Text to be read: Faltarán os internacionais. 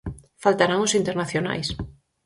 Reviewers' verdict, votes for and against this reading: accepted, 4, 0